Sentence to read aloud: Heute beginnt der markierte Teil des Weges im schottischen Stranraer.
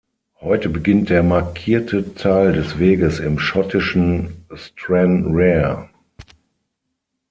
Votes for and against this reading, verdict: 6, 3, accepted